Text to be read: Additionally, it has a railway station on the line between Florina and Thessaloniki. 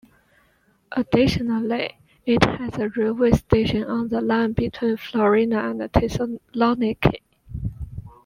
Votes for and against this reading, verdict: 1, 2, rejected